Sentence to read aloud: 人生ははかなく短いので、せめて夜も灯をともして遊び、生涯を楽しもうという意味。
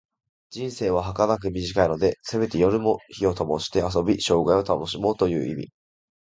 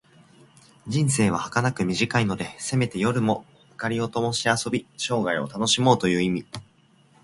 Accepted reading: second